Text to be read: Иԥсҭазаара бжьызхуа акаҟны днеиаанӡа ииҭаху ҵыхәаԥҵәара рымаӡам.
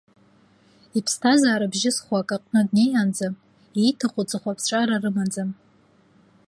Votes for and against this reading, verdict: 2, 0, accepted